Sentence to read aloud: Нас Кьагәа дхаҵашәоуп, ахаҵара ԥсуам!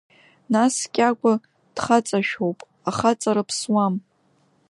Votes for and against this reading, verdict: 2, 0, accepted